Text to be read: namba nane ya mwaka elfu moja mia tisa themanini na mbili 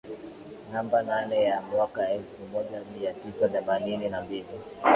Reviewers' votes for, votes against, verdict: 2, 0, accepted